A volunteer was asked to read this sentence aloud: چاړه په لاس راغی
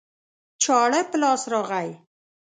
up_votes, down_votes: 0, 2